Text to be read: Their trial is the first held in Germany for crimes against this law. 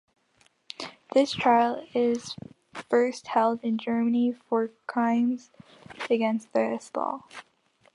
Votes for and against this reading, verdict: 3, 1, accepted